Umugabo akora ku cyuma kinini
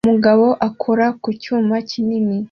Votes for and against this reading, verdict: 2, 0, accepted